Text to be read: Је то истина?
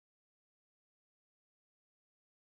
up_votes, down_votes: 0, 2